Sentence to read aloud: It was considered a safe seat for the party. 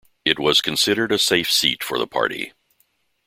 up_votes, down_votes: 2, 0